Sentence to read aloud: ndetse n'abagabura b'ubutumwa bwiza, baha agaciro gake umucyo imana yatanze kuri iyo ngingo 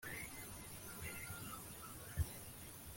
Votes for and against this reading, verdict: 1, 2, rejected